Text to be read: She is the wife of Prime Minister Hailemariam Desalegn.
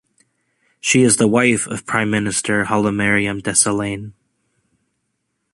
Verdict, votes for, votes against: accepted, 2, 0